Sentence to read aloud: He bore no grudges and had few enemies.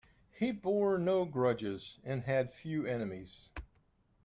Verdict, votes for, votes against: accepted, 2, 0